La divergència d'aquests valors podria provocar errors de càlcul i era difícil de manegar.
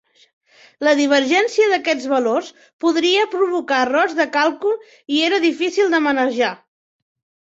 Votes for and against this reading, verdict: 3, 2, accepted